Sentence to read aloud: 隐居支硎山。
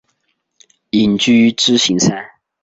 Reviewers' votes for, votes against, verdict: 3, 0, accepted